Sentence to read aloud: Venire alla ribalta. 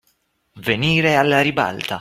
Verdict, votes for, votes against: accepted, 2, 0